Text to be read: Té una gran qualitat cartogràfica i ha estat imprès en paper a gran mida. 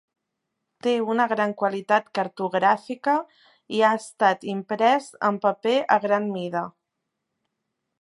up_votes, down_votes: 4, 0